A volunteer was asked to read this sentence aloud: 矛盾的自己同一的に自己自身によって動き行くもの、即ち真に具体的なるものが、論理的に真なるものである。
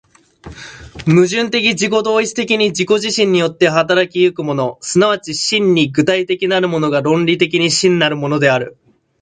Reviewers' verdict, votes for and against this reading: rejected, 1, 2